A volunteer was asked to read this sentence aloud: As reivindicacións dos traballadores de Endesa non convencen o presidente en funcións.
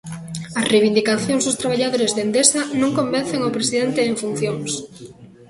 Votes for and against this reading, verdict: 2, 1, accepted